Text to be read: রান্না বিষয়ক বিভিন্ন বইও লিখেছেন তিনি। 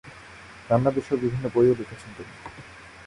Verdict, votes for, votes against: rejected, 0, 2